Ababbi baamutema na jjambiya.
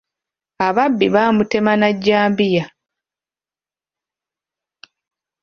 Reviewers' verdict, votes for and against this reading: accepted, 2, 1